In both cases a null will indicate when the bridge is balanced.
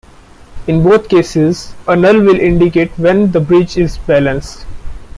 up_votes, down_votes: 0, 2